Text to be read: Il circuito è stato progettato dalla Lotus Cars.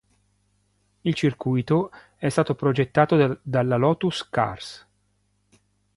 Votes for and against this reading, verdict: 2, 0, accepted